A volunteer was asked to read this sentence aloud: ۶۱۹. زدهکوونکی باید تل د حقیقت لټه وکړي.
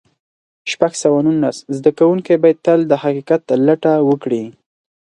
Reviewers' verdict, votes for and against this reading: rejected, 0, 2